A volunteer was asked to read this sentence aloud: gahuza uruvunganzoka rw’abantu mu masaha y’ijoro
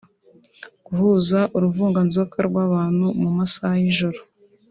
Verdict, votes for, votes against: accepted, 2, 0